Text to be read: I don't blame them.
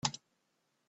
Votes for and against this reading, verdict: 0, 2, rejected